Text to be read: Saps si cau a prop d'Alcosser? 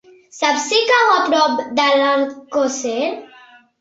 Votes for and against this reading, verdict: 2, 1, accepted